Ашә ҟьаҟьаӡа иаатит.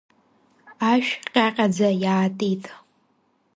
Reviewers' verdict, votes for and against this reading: accepted, 2, 0